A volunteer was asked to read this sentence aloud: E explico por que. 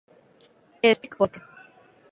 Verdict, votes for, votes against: rejected, 1, 2